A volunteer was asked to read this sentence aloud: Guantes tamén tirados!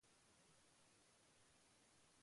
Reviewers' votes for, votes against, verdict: 0, 2, rejected